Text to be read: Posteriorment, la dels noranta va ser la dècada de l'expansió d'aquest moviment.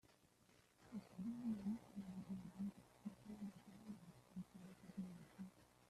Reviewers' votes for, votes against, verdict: 0, 2, rejected